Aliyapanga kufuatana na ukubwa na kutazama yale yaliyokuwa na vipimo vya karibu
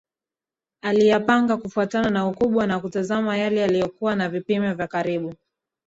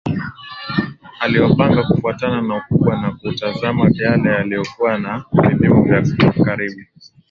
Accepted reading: second